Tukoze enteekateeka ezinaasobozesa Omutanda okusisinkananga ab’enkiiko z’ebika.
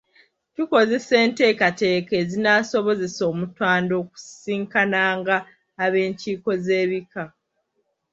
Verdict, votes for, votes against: accepted, 2, 0